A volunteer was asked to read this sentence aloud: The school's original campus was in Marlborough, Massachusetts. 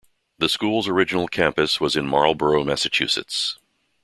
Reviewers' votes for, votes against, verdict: 2, 0, accepted